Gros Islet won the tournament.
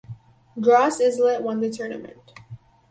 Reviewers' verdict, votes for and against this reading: accepted, 4, 0